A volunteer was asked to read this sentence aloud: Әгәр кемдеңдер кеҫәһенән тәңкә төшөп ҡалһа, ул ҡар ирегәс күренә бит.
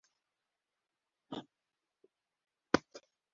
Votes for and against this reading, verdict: 0, 2, rejected